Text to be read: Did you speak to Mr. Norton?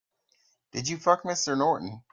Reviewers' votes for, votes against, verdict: 0, 2, rejected